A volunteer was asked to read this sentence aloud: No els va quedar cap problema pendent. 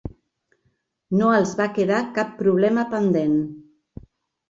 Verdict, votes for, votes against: accepted, 3, 0